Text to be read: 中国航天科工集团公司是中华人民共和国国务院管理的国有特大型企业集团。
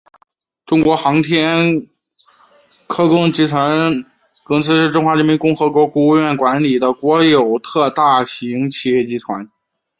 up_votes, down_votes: 2, 0